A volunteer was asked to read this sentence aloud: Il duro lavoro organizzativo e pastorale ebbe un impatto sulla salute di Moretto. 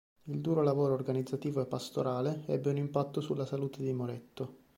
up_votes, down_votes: 2, 0